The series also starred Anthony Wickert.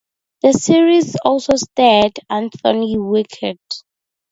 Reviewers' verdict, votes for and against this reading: rejected, 2, 2